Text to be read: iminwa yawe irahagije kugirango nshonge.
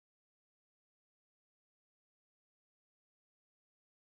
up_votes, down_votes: 0, 2